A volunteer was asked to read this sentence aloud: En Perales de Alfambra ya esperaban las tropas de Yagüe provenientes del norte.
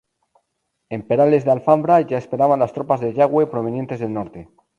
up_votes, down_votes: 0, 2